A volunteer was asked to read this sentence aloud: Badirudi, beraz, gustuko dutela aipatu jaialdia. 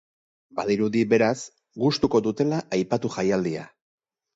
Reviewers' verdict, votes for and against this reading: accepted, 6, 0